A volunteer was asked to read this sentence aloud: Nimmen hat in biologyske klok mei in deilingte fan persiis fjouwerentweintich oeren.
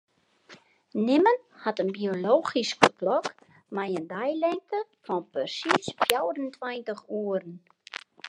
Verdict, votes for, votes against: accepted, 2, 1